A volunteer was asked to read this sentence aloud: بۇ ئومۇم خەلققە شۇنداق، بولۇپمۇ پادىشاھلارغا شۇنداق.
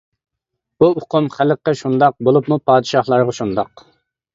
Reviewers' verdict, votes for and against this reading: rejected, 0, 2